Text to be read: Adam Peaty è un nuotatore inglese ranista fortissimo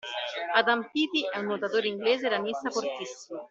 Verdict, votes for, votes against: rejected, 0, 2